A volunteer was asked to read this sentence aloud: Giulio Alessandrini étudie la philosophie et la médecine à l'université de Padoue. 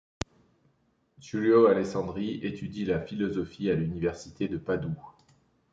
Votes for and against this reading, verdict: 0, 2, rejected